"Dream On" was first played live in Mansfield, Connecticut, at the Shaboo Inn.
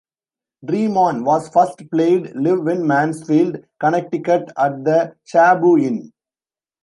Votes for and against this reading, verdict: 0, 2, rejected